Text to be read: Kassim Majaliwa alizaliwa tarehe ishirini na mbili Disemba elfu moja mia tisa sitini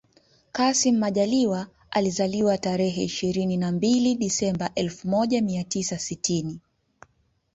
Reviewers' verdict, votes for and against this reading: accepted, 2, 1